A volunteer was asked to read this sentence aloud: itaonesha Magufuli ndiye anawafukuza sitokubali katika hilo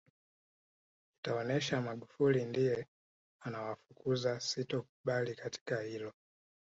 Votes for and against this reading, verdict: 3, 0, accepted